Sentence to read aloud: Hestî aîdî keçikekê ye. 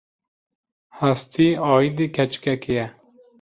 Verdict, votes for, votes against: accepted, 2, 0